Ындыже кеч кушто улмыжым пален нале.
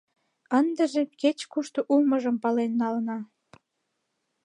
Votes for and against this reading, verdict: 0, 2, rejected